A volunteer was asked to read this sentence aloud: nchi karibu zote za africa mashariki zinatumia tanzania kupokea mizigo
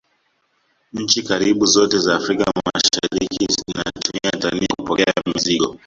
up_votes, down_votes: 0, 2